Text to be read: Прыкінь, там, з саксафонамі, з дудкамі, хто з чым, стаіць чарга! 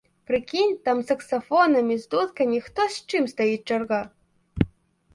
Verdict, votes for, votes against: accepted, 2, 0